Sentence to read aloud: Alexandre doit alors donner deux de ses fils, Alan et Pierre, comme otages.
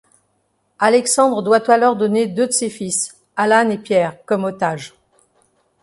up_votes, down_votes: 2, 0